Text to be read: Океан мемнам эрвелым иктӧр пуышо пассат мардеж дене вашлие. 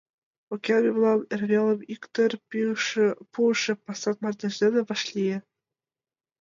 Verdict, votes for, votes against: rejected, 0, 2